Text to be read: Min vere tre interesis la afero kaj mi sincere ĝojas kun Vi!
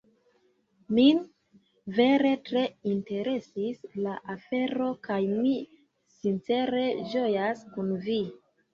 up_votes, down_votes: 2, 1